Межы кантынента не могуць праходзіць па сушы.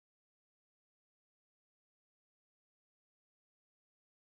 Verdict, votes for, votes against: rejected, 0, 2